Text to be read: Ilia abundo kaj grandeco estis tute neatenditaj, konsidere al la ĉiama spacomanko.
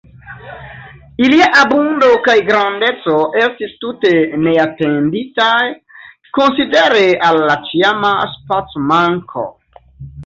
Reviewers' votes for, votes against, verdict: 2, 0, accepted